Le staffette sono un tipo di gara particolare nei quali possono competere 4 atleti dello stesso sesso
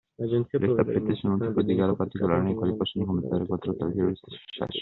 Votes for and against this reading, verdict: 0, 2, rejected